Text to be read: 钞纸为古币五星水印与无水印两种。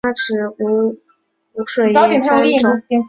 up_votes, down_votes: 2, 3